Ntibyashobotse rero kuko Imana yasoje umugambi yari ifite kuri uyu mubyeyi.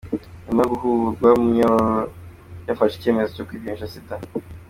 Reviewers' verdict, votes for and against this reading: rejected, 0, 2